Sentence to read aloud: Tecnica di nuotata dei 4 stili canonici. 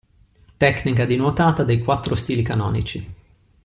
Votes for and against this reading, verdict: 0, 2, rejected